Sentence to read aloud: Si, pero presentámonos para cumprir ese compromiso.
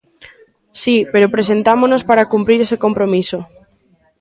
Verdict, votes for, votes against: accepted, 2, 0